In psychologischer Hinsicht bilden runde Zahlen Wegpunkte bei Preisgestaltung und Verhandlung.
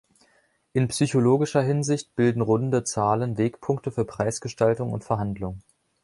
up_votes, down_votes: 1, 2